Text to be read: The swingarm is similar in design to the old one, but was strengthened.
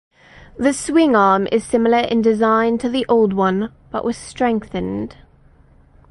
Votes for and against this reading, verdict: 8, 0, accepted